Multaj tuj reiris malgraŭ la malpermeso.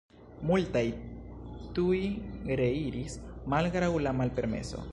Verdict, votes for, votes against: rejected, 0, 2